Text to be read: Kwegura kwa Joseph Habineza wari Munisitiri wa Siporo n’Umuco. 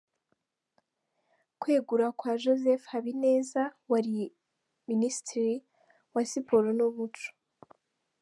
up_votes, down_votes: 3, 0